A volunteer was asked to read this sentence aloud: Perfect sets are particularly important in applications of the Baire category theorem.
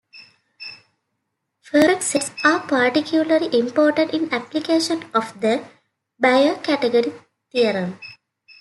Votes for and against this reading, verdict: 2, 3, rejected